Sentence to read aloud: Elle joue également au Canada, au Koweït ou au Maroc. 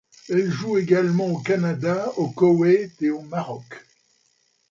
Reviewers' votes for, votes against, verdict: 1, 2, rejected